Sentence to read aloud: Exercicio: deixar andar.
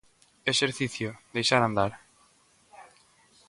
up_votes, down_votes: 2, 0